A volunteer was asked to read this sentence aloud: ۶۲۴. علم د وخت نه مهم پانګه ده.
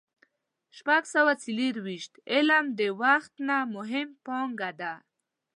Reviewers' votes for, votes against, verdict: 0, 2, rejected